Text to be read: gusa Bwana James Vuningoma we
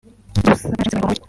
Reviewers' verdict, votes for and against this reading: rejected, 0, 2